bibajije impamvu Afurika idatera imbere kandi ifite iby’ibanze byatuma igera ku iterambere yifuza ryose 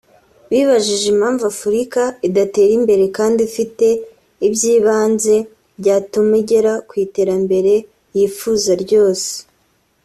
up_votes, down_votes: 3, 0